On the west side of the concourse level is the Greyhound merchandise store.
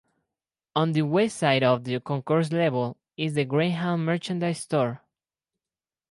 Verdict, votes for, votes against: accepted, 4, 0